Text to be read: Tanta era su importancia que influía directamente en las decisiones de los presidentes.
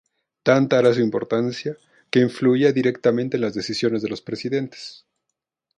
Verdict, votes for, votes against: rejected, 0, 2